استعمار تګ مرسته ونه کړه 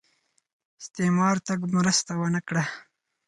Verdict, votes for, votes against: accepted, 4, 0